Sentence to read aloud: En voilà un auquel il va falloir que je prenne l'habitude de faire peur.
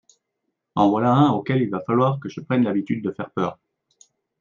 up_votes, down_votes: 2, 0